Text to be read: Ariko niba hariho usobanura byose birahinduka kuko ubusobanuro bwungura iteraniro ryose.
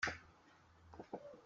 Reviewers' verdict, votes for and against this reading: rejected, 0, 2